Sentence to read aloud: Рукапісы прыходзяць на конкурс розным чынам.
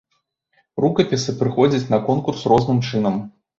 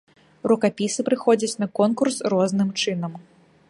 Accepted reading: first